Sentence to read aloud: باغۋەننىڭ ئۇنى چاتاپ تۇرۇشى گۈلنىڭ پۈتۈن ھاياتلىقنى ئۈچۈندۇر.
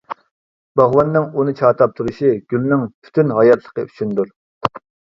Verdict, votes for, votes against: rejected, 0, 2